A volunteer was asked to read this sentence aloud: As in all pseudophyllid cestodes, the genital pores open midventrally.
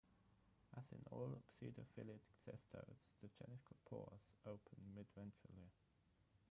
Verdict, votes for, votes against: rejected, 0, 3